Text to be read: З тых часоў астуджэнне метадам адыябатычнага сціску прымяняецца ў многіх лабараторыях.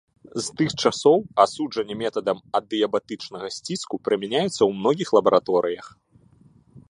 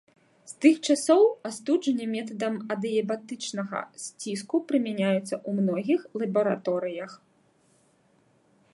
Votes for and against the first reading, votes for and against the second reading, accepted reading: 0, 2, 2, 1, second